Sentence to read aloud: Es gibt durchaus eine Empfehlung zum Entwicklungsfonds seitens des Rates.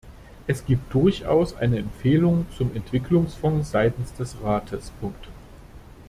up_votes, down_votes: 0, 2